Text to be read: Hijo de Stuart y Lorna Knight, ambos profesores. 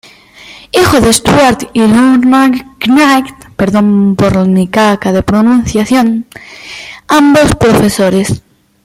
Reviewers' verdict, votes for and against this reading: rejected, 0, 2